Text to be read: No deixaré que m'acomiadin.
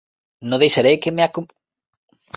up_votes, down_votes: 1, 3